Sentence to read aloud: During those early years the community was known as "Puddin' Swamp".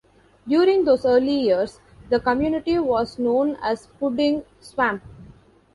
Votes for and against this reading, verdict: 0, 2, rejected